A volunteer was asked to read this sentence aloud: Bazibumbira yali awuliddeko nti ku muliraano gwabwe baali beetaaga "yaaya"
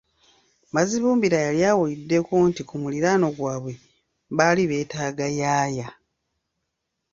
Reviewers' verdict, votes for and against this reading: rejected, 1, 2